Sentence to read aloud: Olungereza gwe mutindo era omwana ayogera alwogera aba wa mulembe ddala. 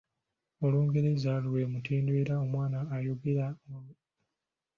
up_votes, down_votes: 1, 2